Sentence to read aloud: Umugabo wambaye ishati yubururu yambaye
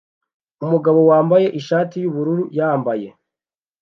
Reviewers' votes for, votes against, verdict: 2, 0, accepted